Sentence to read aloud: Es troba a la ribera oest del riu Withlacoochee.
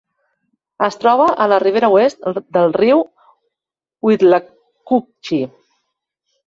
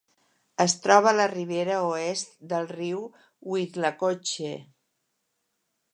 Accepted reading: second